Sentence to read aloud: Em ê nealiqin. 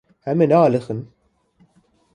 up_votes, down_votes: 2, 0